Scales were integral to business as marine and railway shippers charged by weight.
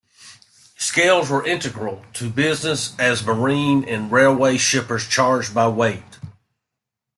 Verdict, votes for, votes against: accepted, 2, 0